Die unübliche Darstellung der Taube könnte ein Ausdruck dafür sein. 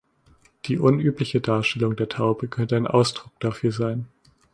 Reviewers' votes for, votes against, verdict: 2, 1, accepted